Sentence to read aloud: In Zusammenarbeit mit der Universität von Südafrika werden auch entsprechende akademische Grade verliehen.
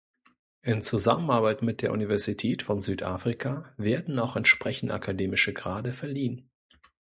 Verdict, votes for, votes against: accepted, 2, 0